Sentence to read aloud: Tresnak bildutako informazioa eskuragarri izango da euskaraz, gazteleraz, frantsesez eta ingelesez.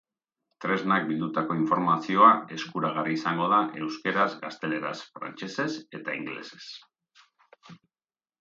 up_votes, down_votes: 0, 2